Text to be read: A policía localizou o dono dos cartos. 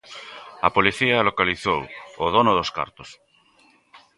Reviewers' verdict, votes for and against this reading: accepted, 2, 0